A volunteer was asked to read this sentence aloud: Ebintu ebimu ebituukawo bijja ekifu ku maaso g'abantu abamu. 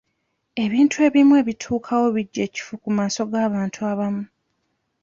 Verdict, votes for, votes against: accepted, 2, 0